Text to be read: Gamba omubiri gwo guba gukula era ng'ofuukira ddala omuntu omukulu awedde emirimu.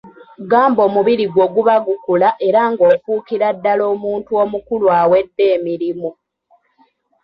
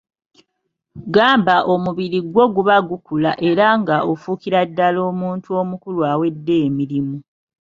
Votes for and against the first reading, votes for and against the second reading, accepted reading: 1, 2, 3, 1, second